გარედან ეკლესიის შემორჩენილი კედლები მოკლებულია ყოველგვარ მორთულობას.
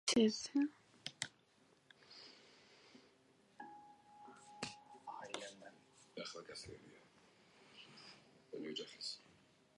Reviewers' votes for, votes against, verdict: 1, 2, rejected